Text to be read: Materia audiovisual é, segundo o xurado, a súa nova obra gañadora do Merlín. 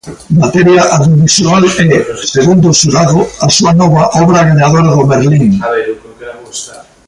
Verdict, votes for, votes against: rejected, 0, 2